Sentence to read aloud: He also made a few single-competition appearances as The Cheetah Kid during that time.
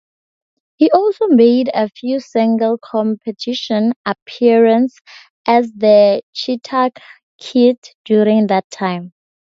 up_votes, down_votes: 0, 6